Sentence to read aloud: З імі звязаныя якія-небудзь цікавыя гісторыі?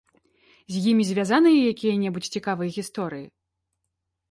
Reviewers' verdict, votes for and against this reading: accepted, 2, 0